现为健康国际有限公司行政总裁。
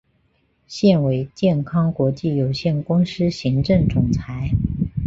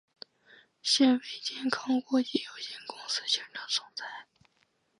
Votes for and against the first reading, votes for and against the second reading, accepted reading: 5, 0, 1, 2, first